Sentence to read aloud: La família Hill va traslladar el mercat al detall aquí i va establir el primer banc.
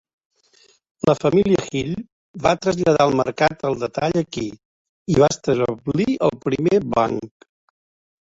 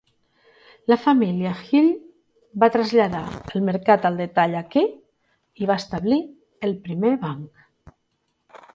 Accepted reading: second